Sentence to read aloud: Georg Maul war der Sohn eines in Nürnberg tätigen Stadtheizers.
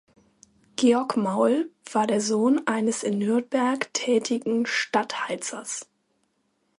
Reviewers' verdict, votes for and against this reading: accepted, 2, 0